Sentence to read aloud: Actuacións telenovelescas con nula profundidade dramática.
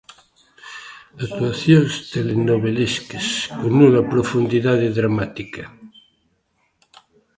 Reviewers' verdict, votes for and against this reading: accepted, 2, 1